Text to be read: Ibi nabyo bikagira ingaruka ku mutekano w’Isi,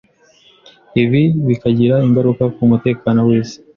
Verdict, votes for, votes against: rejected, 1, 2